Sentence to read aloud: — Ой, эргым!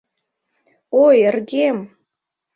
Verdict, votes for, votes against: rejected, 0, 2